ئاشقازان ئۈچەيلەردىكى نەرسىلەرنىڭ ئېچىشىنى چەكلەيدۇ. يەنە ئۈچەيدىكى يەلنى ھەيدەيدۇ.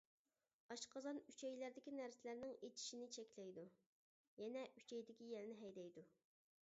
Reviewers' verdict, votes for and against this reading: rejected, 1, 2